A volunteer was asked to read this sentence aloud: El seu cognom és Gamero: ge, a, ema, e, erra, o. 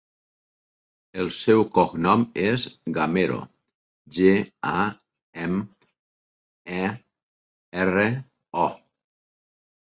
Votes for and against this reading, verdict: 0, 2, rejected